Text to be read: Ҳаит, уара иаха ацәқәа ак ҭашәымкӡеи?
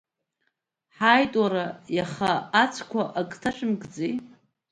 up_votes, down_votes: 2, 0